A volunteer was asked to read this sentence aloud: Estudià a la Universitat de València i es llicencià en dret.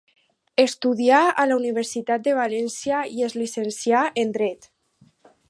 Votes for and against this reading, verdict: 4, 0, accepted